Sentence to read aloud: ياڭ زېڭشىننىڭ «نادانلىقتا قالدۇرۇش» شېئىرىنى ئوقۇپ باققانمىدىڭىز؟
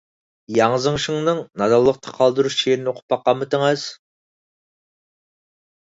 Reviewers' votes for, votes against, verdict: 2, 4, rejected